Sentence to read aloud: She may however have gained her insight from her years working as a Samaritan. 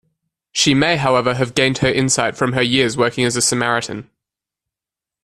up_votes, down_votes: 2, 0